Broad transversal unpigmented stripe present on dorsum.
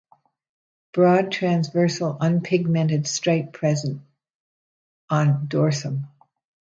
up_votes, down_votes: 2, 0